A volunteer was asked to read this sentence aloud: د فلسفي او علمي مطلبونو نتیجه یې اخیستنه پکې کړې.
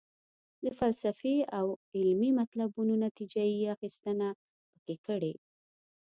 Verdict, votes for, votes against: accepted, 2, 0